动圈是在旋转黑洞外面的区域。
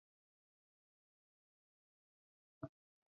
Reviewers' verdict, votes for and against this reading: rejected, 0, 2